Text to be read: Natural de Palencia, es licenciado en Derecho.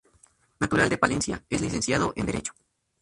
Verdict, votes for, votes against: rejected, 0, 2